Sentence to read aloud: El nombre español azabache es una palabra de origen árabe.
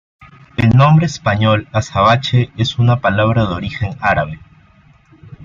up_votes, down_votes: 2, 0